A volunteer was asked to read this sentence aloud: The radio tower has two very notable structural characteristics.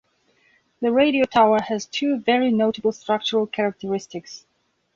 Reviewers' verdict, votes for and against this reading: accepted, 2, 0